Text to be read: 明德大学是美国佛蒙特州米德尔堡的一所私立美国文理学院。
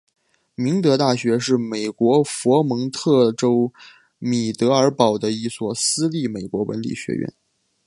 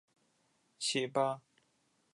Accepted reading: first